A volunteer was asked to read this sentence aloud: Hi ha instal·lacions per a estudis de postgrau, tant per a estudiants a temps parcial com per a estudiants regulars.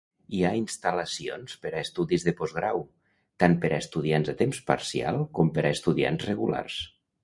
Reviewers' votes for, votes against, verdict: 2, 0, accepted